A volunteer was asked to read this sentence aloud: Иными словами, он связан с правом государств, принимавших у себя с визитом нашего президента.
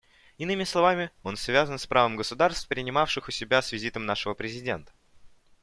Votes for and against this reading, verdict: 2, 0, accepted